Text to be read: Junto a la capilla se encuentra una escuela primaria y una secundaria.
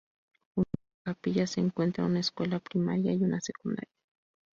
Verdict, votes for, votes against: rejected, 2, 2